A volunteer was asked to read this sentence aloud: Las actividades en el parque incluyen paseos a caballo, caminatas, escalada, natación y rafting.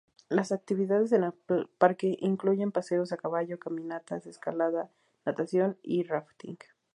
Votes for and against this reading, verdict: 0, 2, rejected